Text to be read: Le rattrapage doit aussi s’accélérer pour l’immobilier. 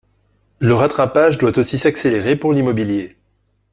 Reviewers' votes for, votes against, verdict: 2, 0, accepted